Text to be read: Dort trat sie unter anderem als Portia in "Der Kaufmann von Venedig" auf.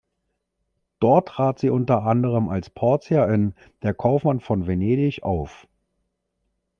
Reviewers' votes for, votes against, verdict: 2, 0, accepted